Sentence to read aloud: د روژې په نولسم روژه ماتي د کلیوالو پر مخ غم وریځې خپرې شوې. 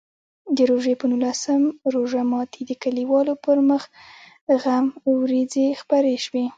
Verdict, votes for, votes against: rejected, 1, 2